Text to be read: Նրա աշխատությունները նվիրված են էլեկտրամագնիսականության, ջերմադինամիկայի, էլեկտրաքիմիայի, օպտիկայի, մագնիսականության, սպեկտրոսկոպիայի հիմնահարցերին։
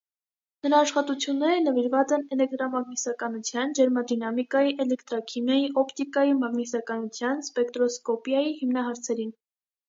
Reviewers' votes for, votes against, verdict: 2, 0, accepted